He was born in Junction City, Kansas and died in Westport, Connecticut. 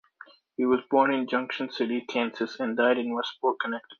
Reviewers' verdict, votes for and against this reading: rejected, 1, 2